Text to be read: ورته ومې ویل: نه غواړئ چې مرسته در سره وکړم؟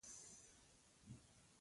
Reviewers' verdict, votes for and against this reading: accepted, 2, 0